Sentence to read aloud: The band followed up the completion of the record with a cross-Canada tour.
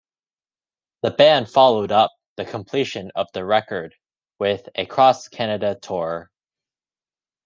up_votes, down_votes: 2, 0